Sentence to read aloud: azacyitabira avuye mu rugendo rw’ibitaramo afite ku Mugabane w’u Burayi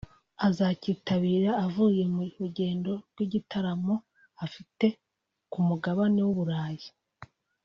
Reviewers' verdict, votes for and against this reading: accepted, 3, 1